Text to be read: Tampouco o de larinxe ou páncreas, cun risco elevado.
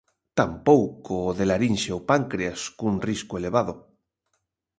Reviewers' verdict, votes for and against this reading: accepted, 2, 0